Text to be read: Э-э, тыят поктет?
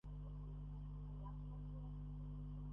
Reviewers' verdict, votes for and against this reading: rejected, 0, 2